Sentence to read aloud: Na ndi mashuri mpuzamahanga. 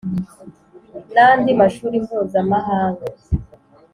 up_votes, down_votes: 3, 0